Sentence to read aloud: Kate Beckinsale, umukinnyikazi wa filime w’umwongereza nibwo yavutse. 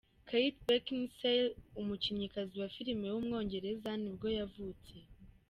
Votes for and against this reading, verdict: 2, 0, accepted